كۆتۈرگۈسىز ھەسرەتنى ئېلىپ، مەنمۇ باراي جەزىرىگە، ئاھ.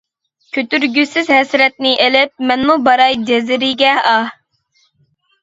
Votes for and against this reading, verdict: 2, 0, accepted